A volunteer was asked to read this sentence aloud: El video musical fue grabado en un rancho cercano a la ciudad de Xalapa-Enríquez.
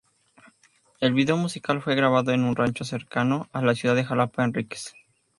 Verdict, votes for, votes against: accepted, 2, 0